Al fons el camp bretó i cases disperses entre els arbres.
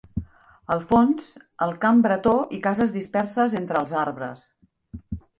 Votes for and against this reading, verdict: 3, 0, accepted